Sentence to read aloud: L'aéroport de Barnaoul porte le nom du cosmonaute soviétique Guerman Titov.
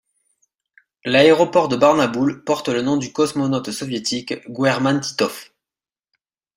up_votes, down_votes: 0, 2